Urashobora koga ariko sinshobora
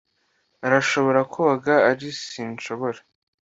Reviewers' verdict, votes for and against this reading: rejected, 0, 2